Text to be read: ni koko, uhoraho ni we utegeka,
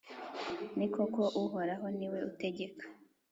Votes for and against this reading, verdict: 2, 0, accepted